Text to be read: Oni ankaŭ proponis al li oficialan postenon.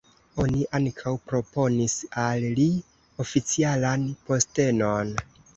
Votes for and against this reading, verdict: 2, 0, accepted